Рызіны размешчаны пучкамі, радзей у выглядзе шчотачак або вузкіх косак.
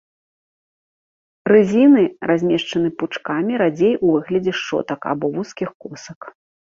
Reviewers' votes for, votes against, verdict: 1, 2, rejected